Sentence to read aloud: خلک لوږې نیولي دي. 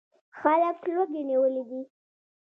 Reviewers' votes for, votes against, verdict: 2, 0, accepted